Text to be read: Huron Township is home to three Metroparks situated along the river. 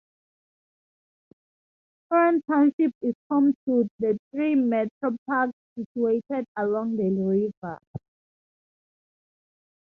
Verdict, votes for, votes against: rejected, 0, 2